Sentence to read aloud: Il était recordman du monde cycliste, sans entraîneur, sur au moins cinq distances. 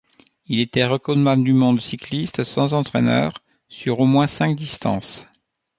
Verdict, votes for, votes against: accepted, 2, 0